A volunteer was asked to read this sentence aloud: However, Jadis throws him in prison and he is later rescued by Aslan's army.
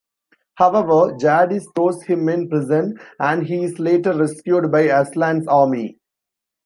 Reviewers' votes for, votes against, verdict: 2, 0, accepted